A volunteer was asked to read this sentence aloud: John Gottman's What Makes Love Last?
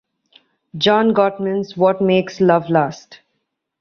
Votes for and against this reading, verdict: 2, 0, accepted